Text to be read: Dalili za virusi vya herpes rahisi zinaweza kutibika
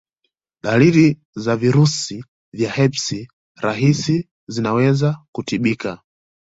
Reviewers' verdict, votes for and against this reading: accepted, 2, 1